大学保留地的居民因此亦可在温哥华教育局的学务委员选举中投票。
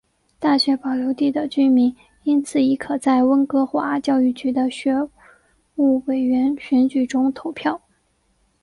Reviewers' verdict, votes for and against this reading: accepted, 2, 0